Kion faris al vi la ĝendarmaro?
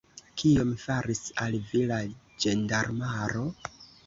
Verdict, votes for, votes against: accepted, 2, 1